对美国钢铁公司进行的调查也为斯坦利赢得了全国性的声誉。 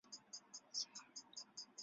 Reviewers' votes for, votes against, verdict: 0, 2, rejected